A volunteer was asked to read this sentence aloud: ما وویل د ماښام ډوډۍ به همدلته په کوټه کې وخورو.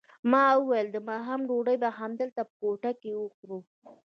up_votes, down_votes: 1, 2